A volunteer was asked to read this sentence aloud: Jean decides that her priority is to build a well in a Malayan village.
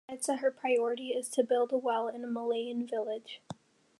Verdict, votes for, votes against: rejected, 0, 2